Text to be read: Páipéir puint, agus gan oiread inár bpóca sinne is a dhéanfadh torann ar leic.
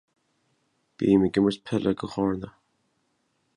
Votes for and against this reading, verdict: 0, 2, rejected